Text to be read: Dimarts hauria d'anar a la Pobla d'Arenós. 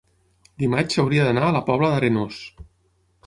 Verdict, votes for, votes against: rejected, 3, 6